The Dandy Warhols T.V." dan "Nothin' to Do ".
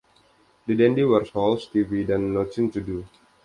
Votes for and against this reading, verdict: 2, 0, accepted